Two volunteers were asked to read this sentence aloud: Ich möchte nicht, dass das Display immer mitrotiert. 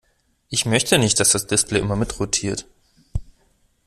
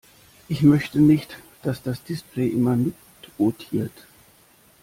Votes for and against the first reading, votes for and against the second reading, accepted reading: 2, 0, 1, 2, first